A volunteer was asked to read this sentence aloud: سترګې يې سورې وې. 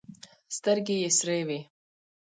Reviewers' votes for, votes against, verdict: 2, 1, accepted